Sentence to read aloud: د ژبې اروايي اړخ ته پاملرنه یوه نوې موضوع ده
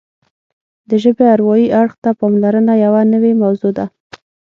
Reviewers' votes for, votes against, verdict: 6, 0, accepted